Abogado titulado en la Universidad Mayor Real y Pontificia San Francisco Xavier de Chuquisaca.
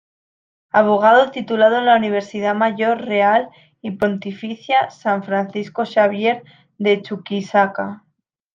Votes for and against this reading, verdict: 2, 0, accepted